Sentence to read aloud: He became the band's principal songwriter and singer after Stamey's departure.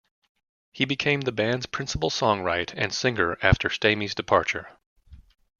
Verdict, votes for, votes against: rejected, 1, 2